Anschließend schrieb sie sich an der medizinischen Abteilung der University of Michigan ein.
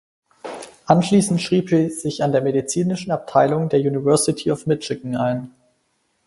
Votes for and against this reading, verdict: 0, 4, rejected